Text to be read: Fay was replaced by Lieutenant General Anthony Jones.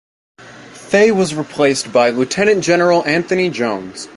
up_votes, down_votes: 2, 0